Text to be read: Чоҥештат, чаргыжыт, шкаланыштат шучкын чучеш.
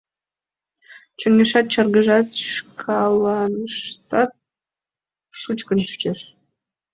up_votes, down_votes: 2, 3